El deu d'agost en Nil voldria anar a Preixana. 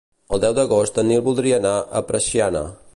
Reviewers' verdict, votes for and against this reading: rejected, 2, 4